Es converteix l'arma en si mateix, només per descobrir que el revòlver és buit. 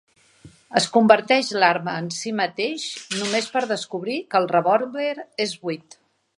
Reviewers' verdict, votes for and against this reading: rejected, 0, 2